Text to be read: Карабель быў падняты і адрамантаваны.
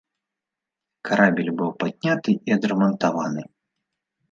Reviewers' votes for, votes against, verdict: 0, 2, rejected